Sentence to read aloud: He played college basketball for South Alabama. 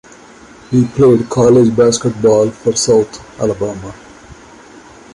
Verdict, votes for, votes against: rejected, 0, 2